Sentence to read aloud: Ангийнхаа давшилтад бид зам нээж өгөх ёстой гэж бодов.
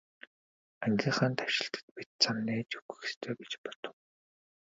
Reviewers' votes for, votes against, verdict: 1, 2, rejected